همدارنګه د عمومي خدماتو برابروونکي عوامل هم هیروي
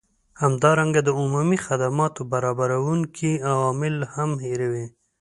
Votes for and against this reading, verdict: 2, 0, accepted